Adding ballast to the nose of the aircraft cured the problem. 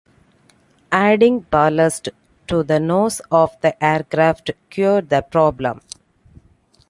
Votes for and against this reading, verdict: 2, 0, accepted